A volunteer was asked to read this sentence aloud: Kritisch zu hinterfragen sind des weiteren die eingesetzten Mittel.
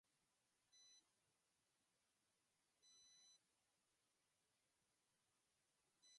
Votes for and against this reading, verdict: 0, 3, rejected